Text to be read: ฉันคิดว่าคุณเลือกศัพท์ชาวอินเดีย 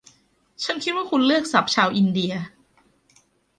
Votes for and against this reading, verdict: 1, 2, rejected